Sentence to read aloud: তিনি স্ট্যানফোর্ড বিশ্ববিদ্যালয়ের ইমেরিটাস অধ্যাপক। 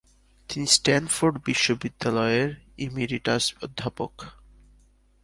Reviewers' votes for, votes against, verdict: 18, 5, accepted